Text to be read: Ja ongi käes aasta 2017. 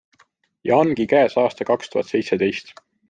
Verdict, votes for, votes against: rejected, 0, 2